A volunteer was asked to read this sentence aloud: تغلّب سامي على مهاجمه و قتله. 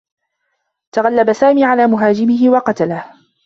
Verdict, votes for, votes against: accepted, 2, 0